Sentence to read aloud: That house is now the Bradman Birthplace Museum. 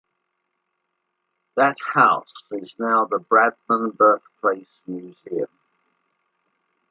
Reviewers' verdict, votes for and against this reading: rejected, 1, 2